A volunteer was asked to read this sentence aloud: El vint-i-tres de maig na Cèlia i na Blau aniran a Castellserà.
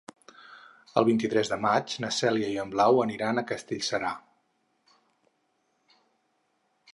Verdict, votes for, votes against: accepted, 4, 0